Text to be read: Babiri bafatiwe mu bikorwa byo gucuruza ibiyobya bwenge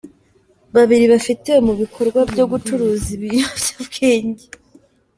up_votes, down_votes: 2, 0